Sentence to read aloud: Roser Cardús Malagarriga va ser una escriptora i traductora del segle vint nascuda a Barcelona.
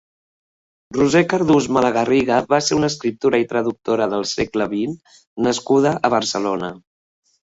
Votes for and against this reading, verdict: 1, 2, rejected